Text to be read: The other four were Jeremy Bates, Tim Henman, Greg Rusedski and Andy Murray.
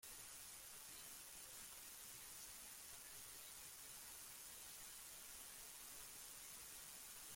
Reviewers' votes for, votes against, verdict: 0, 2, rejected